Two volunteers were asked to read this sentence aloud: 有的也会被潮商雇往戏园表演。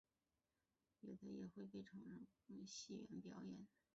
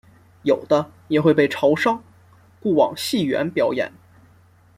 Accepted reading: second